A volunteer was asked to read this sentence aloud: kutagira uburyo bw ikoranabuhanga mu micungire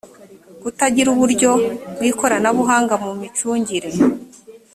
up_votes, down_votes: 3, 0